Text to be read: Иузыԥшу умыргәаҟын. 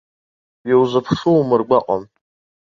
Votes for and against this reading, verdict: 1, 2, rejected